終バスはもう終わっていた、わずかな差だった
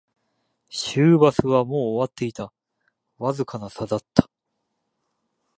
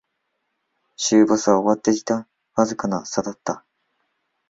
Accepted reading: first